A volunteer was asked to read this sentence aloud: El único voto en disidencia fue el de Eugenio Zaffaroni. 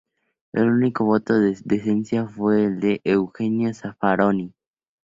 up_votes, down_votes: 0, 2